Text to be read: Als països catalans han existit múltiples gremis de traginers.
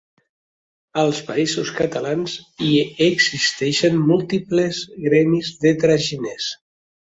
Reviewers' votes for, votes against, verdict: 0, 4, rejected